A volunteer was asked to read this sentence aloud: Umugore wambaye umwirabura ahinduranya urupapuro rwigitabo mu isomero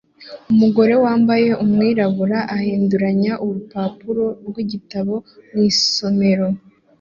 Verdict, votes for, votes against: accepted, 2, 0